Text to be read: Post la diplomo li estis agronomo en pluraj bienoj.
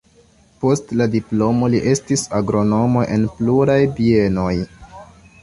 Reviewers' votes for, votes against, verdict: 2, 0, accepted